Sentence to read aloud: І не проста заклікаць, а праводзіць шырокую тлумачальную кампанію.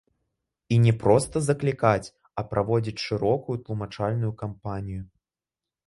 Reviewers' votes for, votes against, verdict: 2, 0, accepted